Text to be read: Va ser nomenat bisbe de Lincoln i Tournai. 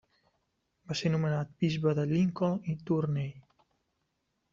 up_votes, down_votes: 1, 2